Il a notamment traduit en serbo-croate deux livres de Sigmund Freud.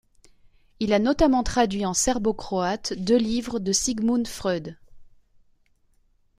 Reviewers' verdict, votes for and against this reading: accepted, 2, 0